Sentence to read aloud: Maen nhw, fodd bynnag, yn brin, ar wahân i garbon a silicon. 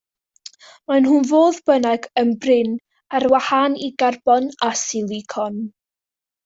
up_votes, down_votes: 2, 0